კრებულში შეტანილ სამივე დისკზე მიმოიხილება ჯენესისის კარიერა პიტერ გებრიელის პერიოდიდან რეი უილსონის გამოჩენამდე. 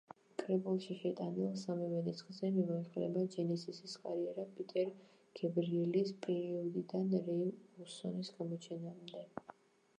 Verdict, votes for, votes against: rejected, 1, 2